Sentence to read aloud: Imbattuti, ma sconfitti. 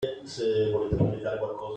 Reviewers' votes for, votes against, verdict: 0, 2, rejected